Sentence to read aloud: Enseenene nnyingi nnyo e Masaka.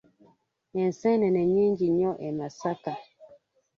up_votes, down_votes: 2, 0